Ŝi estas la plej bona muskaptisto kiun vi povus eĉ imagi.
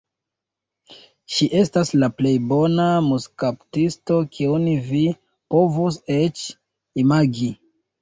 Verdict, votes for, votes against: accepted, 2, 1